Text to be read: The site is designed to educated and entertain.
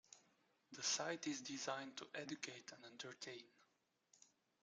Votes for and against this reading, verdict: 1, 2, rejected